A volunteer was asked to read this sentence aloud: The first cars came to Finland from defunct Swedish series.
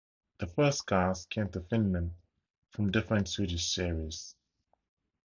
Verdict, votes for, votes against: accepted, 2, 0